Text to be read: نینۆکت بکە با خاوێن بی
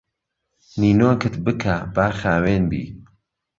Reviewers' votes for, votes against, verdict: 2, 0, accepted